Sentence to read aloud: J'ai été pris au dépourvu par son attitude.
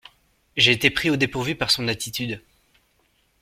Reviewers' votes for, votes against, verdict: 2, 0, accepted